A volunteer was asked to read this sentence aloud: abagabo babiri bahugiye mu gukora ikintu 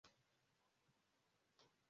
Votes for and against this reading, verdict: 0, 2, rejected